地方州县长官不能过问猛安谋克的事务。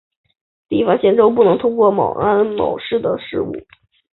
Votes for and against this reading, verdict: 1, 2, rejected